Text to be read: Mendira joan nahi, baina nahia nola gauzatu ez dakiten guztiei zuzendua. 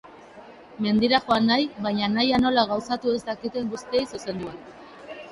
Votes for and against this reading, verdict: 2, 0, accepted